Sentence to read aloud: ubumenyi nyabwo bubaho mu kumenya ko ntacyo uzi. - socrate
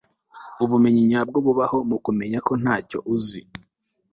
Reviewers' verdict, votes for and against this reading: rejected, 1, 2